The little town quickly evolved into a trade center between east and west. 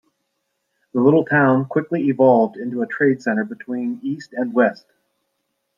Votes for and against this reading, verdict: 2, 0, accepted